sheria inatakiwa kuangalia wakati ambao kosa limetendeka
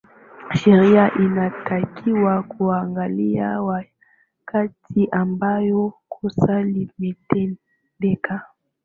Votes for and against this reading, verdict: 2, 0, accepted